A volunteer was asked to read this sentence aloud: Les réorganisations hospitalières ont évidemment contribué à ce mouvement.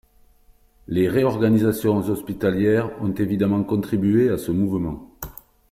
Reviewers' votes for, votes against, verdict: 3, 0, accepted